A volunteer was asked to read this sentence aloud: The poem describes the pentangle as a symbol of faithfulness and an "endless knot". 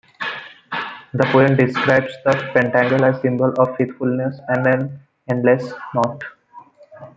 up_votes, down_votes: 0, 2